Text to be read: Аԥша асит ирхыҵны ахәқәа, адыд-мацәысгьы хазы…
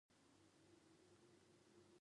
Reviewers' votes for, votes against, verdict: 0, 2, rejected